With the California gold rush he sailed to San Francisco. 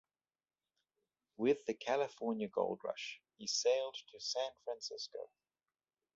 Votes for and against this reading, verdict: 2, 0, accepted